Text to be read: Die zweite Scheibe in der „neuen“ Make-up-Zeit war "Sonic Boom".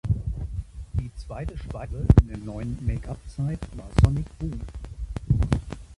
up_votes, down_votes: 0, 2